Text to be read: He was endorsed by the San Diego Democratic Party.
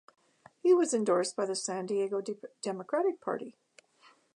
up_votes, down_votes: 1, 2